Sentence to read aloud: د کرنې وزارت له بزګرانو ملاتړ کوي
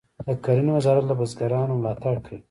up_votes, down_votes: 1, 2